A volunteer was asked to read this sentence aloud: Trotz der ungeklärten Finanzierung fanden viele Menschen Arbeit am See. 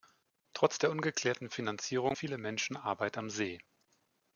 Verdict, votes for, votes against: rejected, 0, 3